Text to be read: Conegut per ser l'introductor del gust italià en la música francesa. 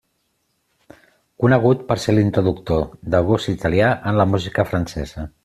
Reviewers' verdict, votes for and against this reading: accepted, 2, 0